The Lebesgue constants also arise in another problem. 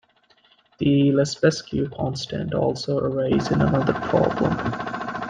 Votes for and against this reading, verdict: 1, 2, rejected